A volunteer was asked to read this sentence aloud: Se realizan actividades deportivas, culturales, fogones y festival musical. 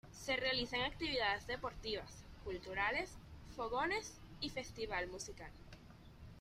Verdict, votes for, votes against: accepted, 2, 0